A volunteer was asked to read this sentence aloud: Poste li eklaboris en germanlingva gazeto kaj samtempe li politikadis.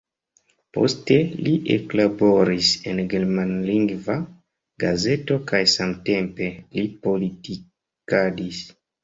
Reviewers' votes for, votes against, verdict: 0, 2, rejected